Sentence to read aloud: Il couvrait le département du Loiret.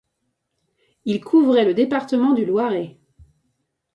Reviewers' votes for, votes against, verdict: 2, 0, accepted